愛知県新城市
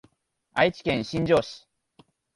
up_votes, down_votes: 2, 1